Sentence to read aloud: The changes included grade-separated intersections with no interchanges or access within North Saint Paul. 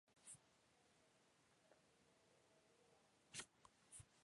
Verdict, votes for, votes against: rejected, 0, 2